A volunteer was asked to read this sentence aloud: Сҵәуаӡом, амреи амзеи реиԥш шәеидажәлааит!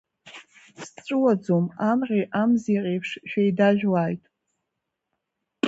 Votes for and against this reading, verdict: 1, 2, rejected